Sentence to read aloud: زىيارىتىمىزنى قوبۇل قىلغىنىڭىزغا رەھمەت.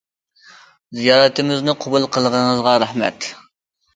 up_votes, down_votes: 2, 0